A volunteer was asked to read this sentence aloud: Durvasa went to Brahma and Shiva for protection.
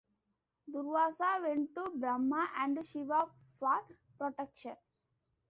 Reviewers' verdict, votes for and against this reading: accepted, 2, 0